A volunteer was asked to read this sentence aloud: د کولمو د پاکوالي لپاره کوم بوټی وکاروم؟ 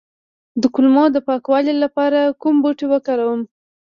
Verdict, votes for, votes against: rejected, 1, 2